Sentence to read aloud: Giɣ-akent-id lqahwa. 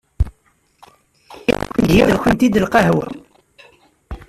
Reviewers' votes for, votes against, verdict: 0, 2, rejected